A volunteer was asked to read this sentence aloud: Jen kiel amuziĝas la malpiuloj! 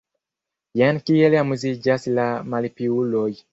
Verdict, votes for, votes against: rejected, 1, 2